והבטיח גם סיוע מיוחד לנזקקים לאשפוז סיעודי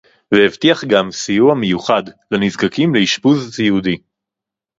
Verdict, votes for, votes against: accepted, 2, 0